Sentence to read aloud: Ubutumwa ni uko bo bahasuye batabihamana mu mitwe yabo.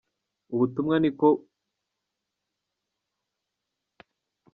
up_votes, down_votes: 0, 2